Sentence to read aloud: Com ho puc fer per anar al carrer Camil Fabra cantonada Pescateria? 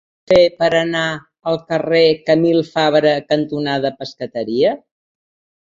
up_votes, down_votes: 0, 3